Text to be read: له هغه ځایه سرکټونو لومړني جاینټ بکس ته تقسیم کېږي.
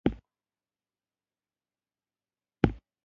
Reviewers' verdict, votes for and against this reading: rejected, 0, 2